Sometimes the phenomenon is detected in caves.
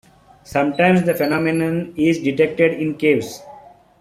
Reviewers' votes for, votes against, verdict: 2, 0, accepted